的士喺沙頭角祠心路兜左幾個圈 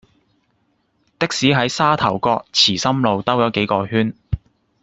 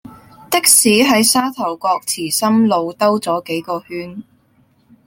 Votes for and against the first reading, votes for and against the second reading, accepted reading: 1, 2, 2, 0, second